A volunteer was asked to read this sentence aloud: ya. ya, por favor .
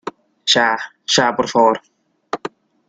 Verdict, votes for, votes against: accepted, 2, 0